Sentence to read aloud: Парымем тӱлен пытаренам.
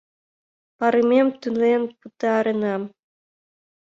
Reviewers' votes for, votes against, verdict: 1, 2, rejected